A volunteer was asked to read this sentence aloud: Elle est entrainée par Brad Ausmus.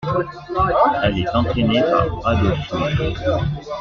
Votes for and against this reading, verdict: 0, 2, rejected